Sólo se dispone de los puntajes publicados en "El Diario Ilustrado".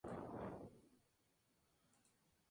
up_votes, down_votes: 0, 2